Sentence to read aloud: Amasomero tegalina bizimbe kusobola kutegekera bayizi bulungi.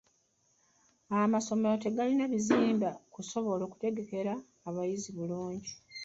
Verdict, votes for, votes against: rejected, 0, 2